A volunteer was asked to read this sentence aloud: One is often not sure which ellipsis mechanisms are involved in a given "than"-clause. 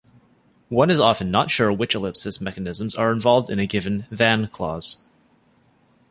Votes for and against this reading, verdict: 2, 0, accepted